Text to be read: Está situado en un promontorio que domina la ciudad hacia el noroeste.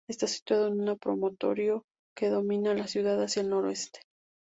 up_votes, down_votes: 0, 2